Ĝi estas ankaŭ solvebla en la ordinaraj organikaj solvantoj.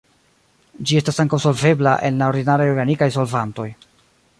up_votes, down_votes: 0, 2